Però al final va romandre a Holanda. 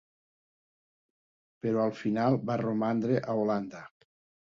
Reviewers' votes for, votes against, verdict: 4, 0, accepted